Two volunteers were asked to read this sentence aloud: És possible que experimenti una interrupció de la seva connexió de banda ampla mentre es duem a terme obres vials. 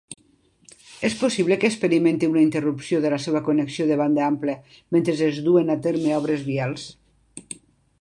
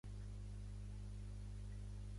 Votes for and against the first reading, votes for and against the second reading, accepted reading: 2, 0, 0, 2, first